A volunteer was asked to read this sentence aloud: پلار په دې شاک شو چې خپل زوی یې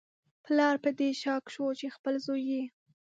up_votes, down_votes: 6, 0